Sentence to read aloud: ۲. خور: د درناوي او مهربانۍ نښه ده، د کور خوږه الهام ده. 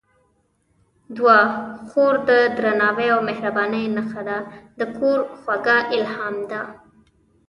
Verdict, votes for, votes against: rejected, 0, 2